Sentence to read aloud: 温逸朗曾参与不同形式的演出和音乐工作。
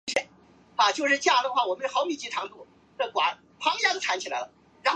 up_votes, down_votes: 0, 2